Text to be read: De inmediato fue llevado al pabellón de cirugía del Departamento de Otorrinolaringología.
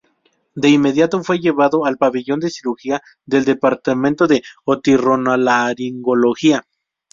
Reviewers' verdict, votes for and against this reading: rejected, 0, 2